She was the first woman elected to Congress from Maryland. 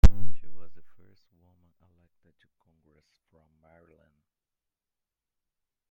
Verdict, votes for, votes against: rejected, 0, 2